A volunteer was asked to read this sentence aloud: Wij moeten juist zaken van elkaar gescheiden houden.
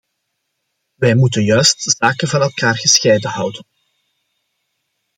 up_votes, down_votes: 2, 1